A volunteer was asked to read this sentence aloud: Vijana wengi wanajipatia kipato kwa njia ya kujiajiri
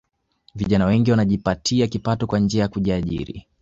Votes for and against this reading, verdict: 2, 0, accepted